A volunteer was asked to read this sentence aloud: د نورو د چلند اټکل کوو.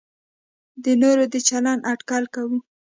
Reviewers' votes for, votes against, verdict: 2, 0, accepted